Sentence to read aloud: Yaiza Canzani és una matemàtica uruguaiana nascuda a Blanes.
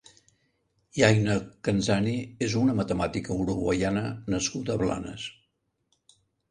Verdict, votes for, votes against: rejected, 1, 2